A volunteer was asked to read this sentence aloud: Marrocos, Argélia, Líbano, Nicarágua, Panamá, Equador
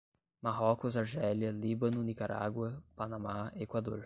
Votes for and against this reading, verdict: 0, 5, rejected